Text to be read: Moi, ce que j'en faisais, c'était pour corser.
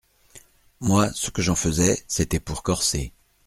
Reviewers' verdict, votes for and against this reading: accepted, 2, 0